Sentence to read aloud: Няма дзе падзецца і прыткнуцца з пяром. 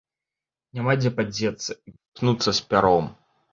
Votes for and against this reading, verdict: 0, 2, rejected